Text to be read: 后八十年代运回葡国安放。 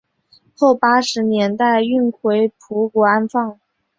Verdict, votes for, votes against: accepted, 2, 0